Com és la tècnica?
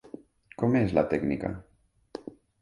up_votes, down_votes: 2, 0